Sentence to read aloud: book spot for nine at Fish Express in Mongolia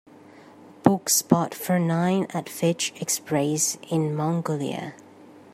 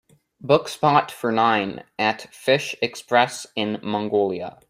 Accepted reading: second